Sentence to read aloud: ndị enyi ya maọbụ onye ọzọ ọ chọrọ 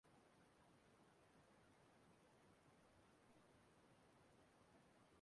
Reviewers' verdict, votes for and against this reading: rejected, 0, 2